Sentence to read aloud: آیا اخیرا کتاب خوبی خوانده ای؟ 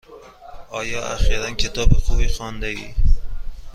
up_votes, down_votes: 2, 0